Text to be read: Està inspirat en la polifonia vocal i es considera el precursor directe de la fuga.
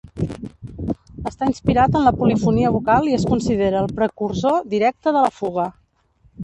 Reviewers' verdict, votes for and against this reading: rejected, 0, 2